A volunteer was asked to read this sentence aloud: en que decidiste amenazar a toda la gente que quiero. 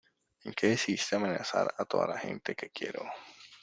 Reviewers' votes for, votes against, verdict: 2, 0, accepted